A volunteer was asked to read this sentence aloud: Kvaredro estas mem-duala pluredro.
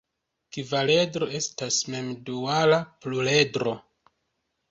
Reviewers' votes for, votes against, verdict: 2, 0, accepted